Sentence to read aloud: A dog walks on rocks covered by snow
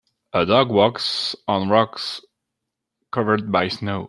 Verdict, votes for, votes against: accepted, 2, 0